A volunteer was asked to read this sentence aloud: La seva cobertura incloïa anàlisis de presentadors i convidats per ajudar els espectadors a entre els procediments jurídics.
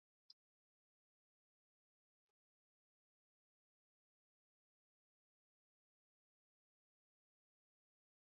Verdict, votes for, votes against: rejected, 0, 2